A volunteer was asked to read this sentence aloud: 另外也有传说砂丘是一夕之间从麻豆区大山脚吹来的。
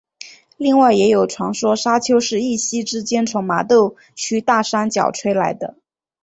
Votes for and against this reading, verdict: 5, 0, accepted